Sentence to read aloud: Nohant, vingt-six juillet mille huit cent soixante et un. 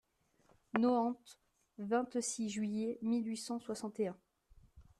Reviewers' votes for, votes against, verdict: 2, 0, accepted